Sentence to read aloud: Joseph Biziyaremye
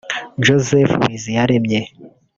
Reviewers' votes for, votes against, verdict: 1, 2, rejected